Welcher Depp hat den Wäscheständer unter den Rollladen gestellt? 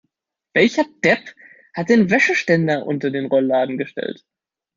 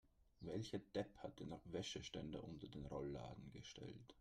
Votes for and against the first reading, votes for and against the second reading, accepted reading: 2, 0, 0, 2, first